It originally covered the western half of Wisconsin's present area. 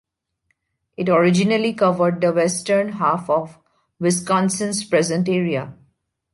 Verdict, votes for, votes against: accepted, 2, 0